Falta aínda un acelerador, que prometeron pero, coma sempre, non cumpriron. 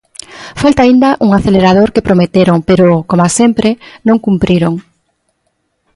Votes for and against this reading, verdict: 3, 1, accepted